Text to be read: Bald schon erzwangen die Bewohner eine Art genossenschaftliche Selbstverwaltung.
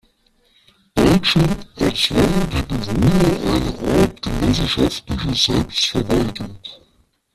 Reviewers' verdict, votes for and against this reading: rejected, 0, 2